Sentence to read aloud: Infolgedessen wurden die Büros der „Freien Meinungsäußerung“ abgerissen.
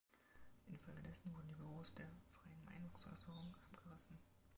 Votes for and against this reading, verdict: 0, 2, rejected